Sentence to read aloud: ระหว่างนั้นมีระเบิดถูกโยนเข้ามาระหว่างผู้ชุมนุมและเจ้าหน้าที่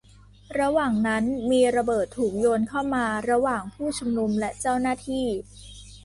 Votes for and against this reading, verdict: 2, 0, accepted